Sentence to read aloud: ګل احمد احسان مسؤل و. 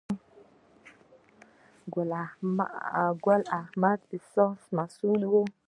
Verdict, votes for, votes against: rejected, 2, 3